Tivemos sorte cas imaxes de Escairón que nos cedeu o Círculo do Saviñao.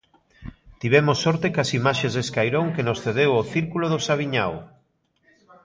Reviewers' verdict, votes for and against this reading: rejected, 0, 2